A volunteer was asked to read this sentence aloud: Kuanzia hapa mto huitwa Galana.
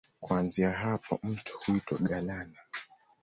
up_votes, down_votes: 2, 0